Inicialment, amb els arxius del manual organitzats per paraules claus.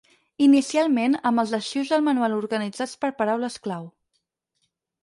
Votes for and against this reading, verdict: 2, 4, rejected